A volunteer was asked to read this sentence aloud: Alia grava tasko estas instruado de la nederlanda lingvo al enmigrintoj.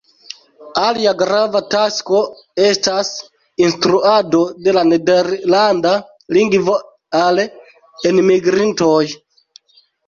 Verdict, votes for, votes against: rejected, 1, 2